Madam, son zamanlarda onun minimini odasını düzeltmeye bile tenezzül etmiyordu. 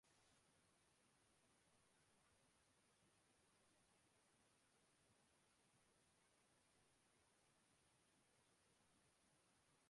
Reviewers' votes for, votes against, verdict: 0, 2, rejected